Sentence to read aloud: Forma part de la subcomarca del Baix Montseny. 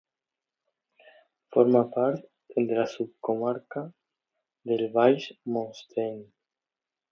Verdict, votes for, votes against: rejected, 0, 2